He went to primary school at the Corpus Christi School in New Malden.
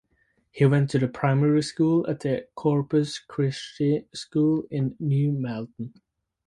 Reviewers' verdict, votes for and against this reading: accepted, 4, 2